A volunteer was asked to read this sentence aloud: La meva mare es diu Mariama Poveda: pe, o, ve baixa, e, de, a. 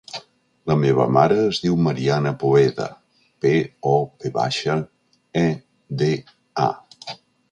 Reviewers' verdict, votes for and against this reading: rejected, 0, 3